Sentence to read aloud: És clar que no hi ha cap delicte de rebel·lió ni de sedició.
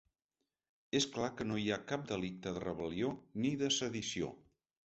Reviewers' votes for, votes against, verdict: 4, 0, accepted